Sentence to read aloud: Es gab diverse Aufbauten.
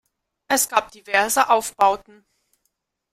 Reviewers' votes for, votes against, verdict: 1, 2, rejected